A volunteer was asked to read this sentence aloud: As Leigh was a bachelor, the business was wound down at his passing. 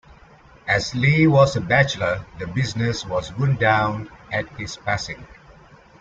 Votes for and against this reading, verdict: 0, 2, rejected